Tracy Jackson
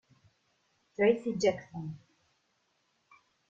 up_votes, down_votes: 2, 0